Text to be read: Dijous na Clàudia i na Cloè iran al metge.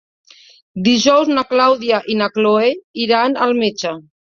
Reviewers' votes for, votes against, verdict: 2, 0, accepted